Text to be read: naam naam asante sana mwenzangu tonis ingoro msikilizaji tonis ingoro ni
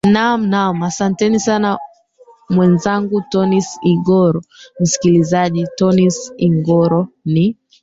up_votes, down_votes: 0, 3